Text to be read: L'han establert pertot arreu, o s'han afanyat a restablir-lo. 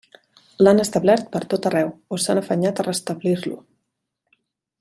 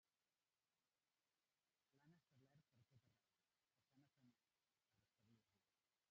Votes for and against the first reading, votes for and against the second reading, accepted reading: 3, 0, 0, 2, first